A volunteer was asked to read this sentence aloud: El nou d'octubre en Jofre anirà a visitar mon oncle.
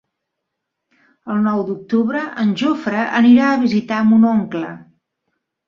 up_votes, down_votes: 2, 0